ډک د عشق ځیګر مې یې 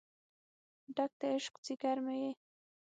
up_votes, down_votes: 6, 0